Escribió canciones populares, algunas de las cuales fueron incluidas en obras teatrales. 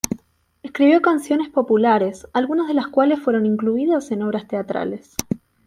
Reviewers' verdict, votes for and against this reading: rejected, 1, 2